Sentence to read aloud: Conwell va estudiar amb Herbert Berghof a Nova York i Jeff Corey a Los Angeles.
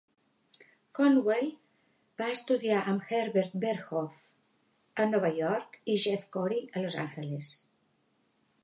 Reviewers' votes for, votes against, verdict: 2, 0, accepted